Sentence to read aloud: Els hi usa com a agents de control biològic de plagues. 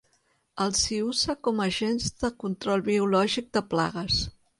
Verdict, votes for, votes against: rejected, 1, 2